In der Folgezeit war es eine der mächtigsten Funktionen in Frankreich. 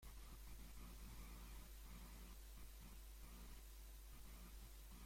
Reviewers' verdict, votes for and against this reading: rejected, 0, 2